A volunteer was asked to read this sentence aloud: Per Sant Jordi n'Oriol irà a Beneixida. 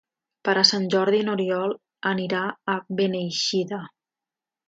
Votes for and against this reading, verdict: 0, 2, rejected